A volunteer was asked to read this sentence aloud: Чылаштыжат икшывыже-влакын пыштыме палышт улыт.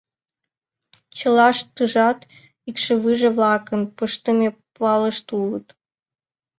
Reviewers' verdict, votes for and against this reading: rejected, 1, 2